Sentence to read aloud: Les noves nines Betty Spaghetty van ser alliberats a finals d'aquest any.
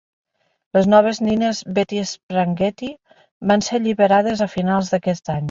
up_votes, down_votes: 0, 2